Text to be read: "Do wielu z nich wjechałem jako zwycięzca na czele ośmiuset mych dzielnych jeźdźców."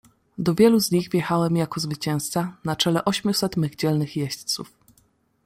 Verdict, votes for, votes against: accepted, 2, 0